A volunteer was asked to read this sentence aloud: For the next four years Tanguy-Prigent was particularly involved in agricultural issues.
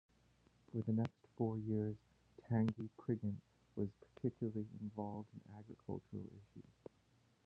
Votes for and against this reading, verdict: 0, 2, rejected